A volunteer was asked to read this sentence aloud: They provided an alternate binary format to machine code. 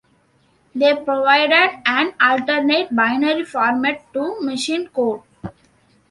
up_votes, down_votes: 2, 0